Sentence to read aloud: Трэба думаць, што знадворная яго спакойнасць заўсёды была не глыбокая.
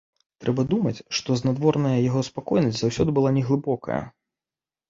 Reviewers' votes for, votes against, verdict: 2, 0, accepted